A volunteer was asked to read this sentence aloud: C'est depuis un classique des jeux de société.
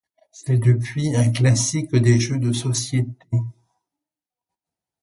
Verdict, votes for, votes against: rejected, 0, 2